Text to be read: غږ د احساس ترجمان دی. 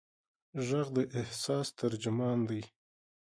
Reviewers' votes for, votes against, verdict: 3, 0, accepted